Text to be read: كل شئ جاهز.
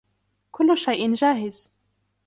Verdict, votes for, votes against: accepted, 2, 0